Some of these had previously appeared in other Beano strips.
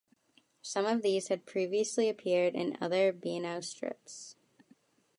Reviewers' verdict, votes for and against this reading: accepted, 2, 0